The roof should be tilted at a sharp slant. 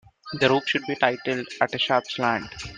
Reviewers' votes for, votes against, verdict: 1, 2, rejected